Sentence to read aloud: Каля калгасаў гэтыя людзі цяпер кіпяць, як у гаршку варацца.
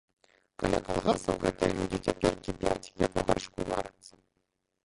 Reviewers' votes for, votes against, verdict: 0, 2, rejected